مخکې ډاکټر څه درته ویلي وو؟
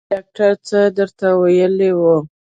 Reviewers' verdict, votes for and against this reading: rejected, 0, 2